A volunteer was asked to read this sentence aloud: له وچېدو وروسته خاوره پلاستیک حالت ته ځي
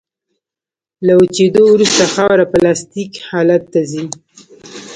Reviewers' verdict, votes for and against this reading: accepted, 2, 0